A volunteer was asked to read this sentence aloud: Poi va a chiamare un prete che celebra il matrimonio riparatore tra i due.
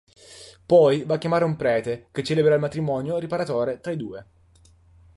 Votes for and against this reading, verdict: 2, 0, accepted